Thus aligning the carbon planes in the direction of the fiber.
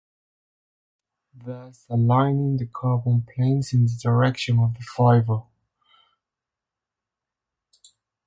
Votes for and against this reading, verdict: 0, 2, rejected